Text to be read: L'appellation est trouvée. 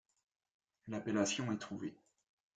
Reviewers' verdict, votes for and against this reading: rejected, 1, 3